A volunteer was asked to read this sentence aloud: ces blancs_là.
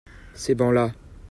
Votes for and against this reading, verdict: 0, 2, rejected